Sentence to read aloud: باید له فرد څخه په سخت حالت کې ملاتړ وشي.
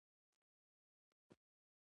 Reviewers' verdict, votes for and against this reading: accepted, 2, 0